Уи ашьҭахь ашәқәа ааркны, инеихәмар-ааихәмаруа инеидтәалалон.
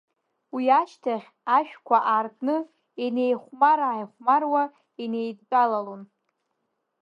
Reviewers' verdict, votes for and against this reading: accepted, 2, 1